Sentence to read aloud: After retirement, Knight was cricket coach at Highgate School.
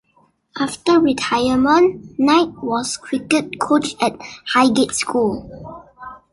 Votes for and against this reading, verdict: 2, 0, accepted